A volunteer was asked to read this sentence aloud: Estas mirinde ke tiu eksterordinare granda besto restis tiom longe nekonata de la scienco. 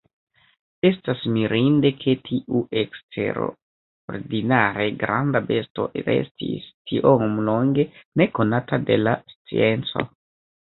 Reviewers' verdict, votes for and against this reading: accepted, 2, 1